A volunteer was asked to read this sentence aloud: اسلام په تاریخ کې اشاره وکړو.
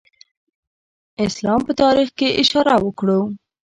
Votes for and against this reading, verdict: 2, 0, accepted